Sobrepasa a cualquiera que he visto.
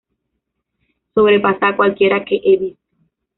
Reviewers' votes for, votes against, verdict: 2, 1, accepted